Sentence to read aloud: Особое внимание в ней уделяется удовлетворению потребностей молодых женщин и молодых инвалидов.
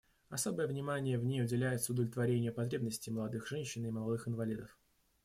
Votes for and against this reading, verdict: 2, 0, accepted